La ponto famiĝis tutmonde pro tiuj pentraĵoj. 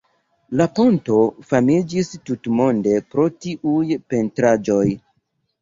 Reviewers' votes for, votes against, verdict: 2, 1, accepted